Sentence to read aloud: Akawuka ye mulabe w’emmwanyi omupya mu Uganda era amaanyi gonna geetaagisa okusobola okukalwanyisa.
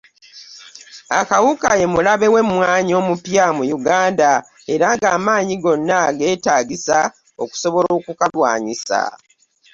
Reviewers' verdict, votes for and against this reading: rejected, 0, 2